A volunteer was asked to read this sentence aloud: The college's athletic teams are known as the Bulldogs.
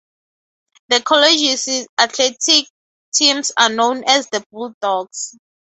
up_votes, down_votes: 2, 0